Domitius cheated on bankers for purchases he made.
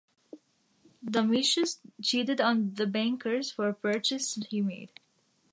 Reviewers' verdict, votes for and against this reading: rejected, 1, 2